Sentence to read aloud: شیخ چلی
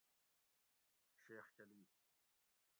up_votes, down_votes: 1, 2